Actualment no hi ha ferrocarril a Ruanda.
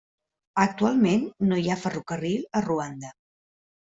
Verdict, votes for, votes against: accepted, 3, 0